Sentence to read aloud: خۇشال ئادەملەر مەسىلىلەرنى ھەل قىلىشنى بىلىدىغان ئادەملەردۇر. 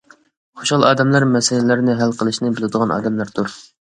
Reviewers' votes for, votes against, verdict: 2, 0, accepted